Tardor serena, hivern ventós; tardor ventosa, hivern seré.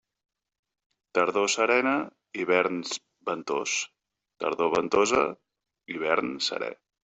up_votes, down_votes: 1, 2